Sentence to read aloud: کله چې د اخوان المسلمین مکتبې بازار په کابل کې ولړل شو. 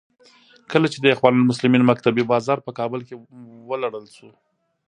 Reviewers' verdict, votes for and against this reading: rejected, 0, 2